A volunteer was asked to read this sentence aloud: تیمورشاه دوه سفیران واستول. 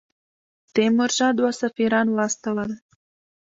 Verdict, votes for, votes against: rejected, 0, 2